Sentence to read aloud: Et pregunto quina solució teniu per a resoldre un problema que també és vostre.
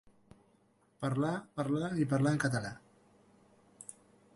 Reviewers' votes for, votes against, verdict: 0, 2, rejected